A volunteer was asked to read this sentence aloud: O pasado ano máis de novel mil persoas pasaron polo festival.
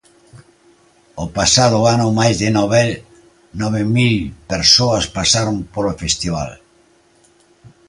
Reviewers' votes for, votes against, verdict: 0, 2, rejected